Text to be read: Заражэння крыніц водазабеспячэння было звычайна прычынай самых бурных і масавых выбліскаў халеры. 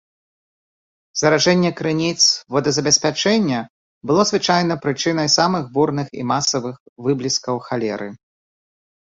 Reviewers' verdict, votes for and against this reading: accepted, 2, 0